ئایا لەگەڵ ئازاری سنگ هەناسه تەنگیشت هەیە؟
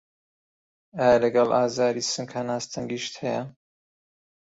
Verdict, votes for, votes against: accepted, 2, 1